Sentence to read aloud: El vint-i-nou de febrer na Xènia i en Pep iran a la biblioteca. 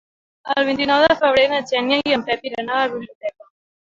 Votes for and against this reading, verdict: 3, 1, accepted